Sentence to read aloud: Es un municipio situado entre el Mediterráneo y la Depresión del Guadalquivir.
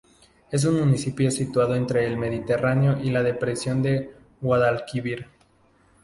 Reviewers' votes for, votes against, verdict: 0, 2, rejected